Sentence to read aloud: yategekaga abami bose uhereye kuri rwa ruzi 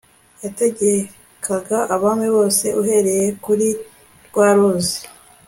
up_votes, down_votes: 2, 0